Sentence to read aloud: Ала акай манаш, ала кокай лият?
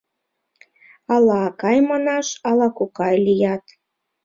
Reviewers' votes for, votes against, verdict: 2, 0, accepted